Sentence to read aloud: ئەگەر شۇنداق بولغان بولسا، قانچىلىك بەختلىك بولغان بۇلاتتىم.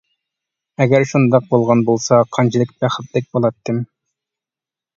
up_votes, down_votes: 0, 2